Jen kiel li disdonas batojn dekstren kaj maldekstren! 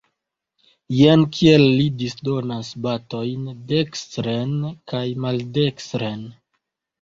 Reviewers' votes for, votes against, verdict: 2, 0, accepted